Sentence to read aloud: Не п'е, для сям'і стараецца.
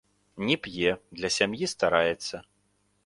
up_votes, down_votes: 1, 2